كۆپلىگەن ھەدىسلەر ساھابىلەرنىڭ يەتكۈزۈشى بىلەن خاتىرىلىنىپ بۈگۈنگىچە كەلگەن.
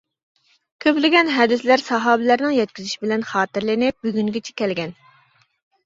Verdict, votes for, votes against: accepted, 2, 1